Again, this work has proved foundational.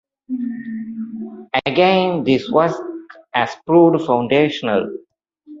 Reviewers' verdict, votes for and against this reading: rejected, 0, 2